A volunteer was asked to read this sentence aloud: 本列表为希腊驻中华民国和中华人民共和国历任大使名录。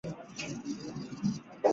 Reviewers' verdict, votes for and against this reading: rejected, 1, 3